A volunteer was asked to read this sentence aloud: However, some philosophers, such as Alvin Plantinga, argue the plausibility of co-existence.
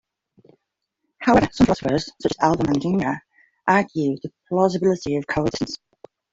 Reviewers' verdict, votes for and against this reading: rejected, 0, 2